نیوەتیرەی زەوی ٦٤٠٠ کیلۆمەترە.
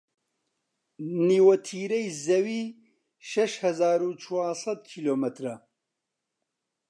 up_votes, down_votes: 0, 2